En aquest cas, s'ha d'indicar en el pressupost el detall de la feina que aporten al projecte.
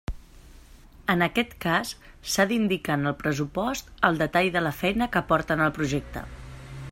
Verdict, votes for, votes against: rejected, 1, 2